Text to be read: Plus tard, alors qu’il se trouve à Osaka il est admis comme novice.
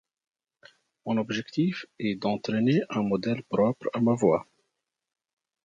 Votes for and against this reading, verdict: 0, 2, rejected